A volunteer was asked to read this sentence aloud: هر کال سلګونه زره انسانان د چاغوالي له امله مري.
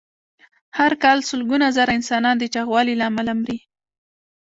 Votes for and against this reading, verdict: 2, 1, accepted